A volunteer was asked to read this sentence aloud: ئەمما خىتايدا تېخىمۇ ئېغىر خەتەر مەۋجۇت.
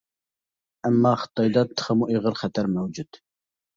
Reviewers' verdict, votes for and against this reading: accepted, 2, 1